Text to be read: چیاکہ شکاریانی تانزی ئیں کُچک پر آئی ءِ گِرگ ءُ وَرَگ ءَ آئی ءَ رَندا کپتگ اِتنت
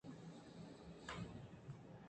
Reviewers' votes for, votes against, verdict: 0, 2, rejected